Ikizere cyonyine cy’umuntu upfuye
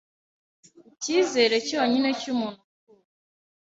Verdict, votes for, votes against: rejected, 1, 2